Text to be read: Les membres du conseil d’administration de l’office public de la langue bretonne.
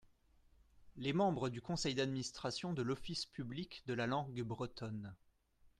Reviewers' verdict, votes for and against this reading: accepted, 2, 0